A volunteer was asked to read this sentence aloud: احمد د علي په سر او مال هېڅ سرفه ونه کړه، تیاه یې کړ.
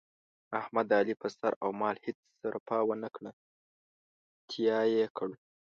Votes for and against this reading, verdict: 2, 0, accepted